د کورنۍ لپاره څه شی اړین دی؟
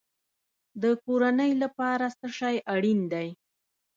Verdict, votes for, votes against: rejected, 1, 2